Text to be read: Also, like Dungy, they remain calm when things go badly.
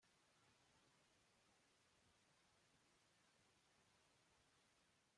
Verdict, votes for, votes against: rejected, 1, 2